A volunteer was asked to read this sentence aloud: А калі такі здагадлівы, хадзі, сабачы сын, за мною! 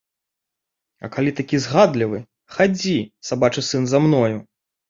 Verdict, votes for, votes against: rejected, 1, 2